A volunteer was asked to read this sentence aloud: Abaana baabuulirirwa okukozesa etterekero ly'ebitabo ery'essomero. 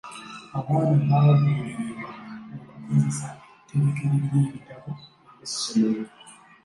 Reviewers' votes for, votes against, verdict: 0, 2, rejected